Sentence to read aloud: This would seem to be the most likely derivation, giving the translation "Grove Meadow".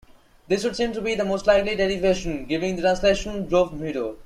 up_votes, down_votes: 2, 1